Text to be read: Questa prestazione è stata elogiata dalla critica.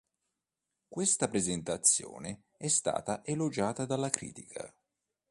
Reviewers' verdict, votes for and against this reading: rejected, 1, 2